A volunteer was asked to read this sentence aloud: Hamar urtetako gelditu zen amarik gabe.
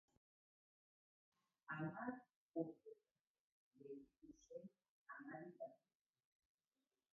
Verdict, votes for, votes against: rejected, 0, 2